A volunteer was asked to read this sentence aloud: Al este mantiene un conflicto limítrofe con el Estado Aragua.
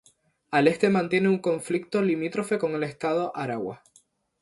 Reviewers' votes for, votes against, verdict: 2, 0, accepted